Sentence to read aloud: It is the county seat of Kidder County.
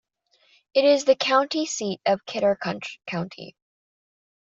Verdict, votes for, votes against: rejected, 1, 2